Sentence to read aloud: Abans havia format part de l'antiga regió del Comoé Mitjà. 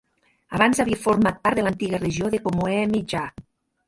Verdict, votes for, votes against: rejected, 1, 2